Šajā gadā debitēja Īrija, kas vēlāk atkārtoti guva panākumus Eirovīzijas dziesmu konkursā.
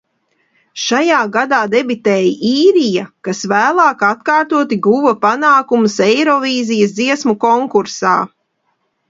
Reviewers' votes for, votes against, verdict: 2, 0, accepted